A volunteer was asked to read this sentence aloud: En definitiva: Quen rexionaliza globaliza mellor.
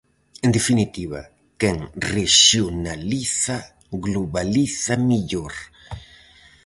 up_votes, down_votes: 2, 2